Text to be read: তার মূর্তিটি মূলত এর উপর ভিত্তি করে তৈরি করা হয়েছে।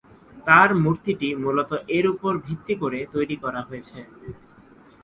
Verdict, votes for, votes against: accepted, 2, 0